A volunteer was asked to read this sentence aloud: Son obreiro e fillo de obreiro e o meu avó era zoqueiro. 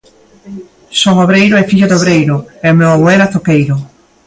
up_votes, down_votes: 2, 0